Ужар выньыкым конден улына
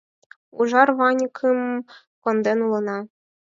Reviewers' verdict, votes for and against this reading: rejected, 0, 4